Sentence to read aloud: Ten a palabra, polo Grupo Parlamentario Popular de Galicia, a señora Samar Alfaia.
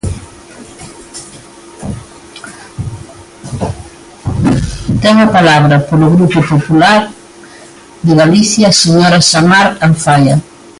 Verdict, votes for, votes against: rejected, 1, 2